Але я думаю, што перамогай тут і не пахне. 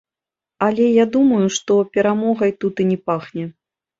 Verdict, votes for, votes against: accepted, 2, 0